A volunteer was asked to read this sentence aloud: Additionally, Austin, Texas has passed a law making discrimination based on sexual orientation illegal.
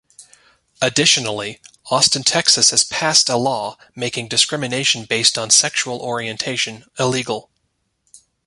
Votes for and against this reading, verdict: 2, 0, accepted